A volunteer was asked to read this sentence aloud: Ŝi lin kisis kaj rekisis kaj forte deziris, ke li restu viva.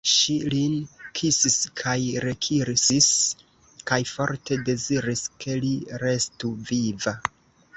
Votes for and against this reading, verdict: 0, 2, rejected